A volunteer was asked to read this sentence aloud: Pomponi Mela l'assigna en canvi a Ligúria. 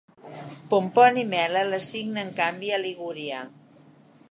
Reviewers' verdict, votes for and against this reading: accepted, 2, 0